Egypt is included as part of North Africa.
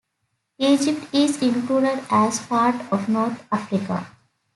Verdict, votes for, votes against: accepted, 2, 1